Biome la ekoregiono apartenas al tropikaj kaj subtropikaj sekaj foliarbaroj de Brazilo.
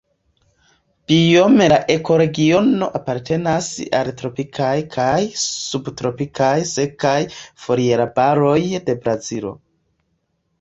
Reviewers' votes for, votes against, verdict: 1, 2, rejected